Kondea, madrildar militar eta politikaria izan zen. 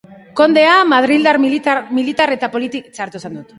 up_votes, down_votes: 0, 5